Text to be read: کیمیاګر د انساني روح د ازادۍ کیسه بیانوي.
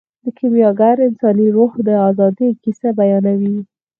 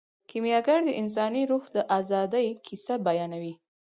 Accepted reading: second